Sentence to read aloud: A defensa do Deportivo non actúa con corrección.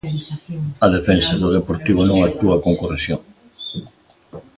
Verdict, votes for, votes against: rejected, 1, 2